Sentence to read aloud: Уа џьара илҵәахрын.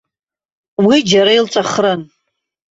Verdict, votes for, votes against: rejected, 0, 2